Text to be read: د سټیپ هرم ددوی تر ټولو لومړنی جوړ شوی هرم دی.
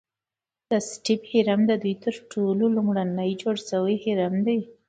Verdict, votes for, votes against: accepted, 2, 0